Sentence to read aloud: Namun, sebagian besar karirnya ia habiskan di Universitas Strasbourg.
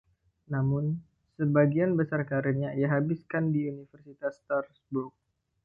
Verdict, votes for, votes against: rejected, 1, 2